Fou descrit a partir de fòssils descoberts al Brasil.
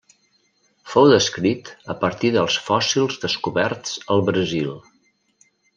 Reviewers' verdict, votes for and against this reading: rejected, 1, 2